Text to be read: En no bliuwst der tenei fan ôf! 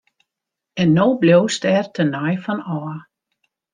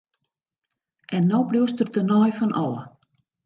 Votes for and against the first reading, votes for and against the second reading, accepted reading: 0, 2, 2, 0, second